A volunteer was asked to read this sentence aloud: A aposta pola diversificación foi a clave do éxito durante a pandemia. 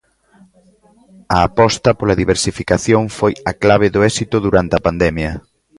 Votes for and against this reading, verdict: 2, 0, accepted